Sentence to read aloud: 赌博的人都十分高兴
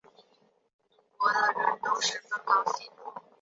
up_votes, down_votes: 2, 0